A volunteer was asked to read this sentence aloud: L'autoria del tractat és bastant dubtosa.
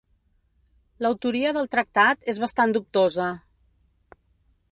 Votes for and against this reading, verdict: 2, 0, accepted